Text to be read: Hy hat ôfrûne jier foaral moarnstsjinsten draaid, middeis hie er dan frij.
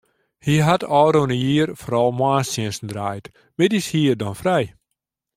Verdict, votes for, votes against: accepted, 2, 0